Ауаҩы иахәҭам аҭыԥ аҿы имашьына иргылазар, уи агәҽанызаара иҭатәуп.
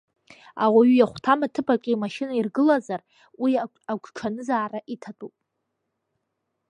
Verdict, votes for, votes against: rejected, 1, 2